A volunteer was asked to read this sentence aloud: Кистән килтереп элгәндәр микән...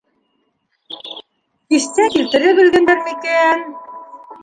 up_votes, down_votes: 1, 2